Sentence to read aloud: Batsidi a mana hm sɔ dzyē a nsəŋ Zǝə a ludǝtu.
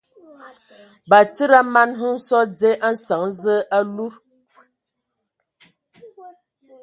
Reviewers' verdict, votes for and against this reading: accepted, 2, 0